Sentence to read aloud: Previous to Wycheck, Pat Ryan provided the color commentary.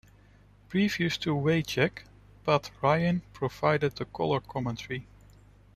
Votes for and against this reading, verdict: 2, 0, accepted